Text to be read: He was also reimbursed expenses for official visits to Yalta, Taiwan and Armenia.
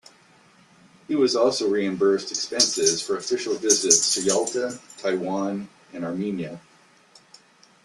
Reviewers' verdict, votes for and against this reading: accepted, 2, 1